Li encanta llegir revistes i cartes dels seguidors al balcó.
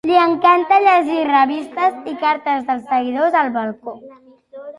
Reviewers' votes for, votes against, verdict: 2, 0, accepted